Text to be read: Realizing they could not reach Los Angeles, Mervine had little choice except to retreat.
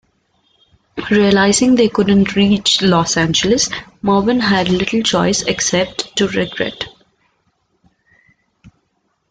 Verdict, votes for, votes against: rejected, 1, 2